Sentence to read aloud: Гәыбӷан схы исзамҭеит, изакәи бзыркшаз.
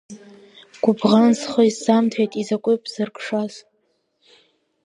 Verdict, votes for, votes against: accepted, 3, 0